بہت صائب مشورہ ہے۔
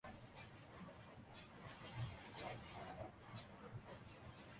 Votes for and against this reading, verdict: 1, 2, rejected